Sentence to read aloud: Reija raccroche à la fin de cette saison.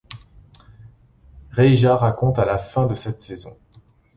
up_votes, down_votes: 1, 2